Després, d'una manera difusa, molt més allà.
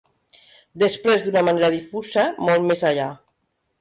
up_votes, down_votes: 0, 2